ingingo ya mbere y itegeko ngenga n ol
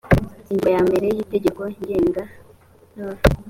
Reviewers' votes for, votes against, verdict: 2, 0, accepted